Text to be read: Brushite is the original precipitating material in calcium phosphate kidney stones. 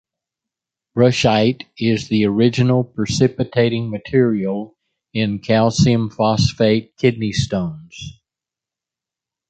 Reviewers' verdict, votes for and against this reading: accepted, 2, 0